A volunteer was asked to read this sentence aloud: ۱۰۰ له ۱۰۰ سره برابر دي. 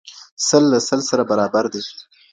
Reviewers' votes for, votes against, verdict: 0, 2, rejected